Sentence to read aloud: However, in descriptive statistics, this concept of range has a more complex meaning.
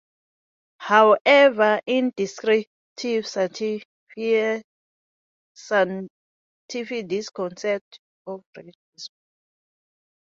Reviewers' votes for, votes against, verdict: 0, 2, rejected